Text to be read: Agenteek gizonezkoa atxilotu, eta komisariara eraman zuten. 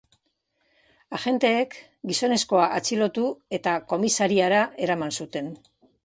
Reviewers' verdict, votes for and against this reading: accepted, 2, 0